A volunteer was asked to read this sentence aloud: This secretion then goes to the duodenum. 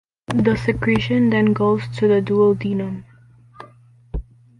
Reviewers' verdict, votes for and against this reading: accepted, 2, 0